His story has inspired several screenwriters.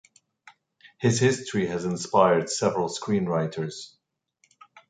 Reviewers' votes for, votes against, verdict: 1, 2, rejected